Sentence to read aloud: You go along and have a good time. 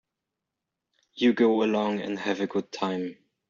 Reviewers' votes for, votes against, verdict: 2, 0, accepted